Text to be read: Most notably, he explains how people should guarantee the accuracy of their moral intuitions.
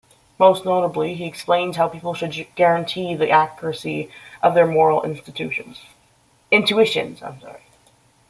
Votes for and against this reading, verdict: 0, 2, rejected